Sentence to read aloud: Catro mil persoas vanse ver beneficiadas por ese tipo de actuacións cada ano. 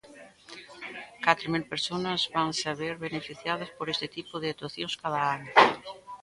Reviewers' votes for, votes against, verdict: 1, 2, rejected